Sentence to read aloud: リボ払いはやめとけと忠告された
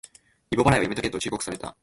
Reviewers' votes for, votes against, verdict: 0, 2, rejected